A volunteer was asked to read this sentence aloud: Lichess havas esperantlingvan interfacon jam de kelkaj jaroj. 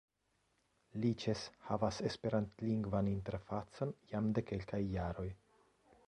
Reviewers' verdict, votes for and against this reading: rejected, 0, 2